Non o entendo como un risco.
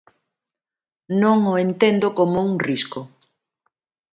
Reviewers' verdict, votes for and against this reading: accepted, 2, 0